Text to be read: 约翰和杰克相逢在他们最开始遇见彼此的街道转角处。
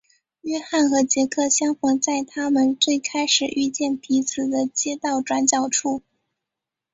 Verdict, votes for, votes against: accepted, 4, 1